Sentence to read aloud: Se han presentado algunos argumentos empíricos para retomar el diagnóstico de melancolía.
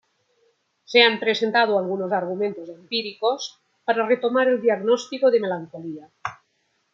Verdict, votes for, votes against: accepted, 2, 1